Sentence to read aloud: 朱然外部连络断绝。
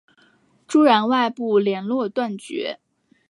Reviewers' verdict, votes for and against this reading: accepted, 5, 0